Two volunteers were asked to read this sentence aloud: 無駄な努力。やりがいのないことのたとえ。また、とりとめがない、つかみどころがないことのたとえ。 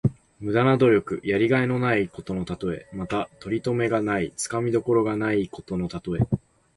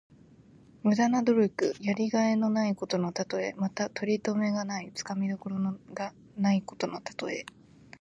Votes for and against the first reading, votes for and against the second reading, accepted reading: 2, 0, 0, 2, first